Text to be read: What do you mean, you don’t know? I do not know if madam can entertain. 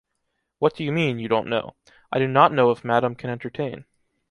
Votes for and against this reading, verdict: 2, 0, accepted